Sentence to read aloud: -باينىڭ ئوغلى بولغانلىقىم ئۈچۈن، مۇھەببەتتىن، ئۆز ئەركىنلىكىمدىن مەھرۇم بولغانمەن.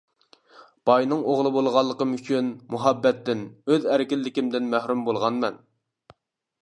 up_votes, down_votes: 2, 0